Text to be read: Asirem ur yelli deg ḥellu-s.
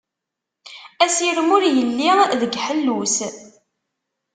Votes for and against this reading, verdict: 2, 0, accepted